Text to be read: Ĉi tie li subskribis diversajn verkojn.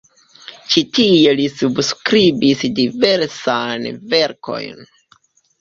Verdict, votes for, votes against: rejected, 2, 3